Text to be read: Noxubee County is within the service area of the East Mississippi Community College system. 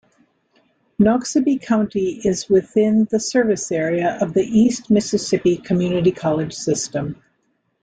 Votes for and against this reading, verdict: 0, 2, rejected